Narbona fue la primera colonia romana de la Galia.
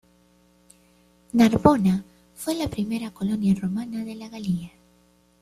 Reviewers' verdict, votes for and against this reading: accepted, 2, 0